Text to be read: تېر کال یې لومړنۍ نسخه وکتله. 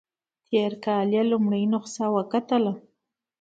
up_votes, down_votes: 2, 0